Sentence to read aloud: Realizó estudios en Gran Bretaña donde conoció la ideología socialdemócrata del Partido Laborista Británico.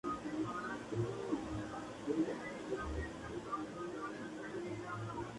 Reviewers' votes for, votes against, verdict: 0, 2, rejected